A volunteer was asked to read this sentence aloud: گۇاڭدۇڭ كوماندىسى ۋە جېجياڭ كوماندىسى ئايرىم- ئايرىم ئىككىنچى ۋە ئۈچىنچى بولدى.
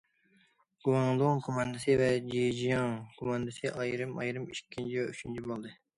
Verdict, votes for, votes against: accepted, 2, 0